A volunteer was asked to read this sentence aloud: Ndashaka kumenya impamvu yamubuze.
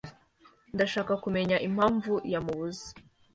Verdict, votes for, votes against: accepted, 3, 0